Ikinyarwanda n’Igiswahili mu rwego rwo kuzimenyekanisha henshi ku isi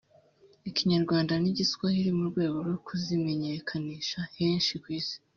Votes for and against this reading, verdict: 3, 0, accepted